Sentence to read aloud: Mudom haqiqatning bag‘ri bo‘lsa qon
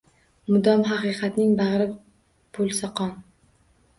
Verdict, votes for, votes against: rejected, 1, 2